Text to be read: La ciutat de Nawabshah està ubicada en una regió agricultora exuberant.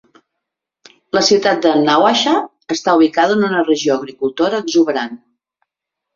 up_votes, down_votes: 2, 1